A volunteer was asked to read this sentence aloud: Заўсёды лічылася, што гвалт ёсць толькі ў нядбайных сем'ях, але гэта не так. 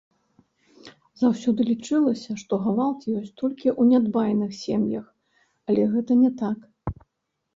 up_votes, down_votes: 2, 3